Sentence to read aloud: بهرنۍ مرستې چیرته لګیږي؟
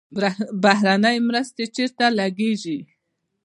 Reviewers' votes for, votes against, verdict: 1, 2, rejected